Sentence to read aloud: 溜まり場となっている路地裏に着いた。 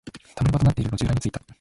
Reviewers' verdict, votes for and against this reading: accepted, 2, 1